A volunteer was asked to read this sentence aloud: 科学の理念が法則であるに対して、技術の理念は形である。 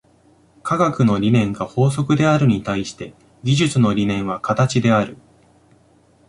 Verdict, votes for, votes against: accepted, 2, 0